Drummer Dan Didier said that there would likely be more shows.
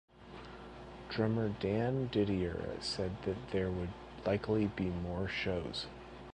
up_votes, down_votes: 2, 0